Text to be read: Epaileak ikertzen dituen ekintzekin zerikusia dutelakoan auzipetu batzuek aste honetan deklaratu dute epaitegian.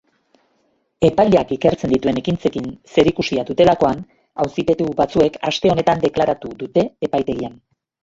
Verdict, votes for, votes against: accepted, 2, 1